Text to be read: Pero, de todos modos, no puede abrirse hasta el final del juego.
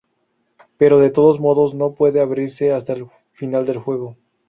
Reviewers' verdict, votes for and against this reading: accepted, 2, 0